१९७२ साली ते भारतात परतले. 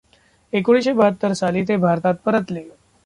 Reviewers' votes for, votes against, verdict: 0, 2, rejected